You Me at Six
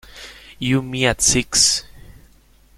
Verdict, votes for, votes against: accepted, 2, 0